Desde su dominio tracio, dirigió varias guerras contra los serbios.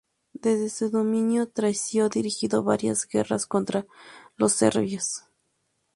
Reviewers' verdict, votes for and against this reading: rejected, 0, 2